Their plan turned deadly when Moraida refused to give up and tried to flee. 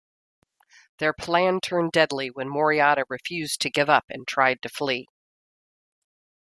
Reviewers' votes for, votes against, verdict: 0, 2, rejected